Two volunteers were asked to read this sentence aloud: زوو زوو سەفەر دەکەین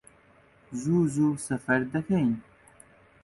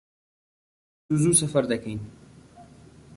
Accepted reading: first